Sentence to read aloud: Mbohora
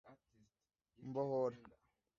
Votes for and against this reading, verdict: 2, 0, accepted